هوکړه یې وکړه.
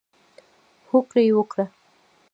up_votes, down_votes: 1, 2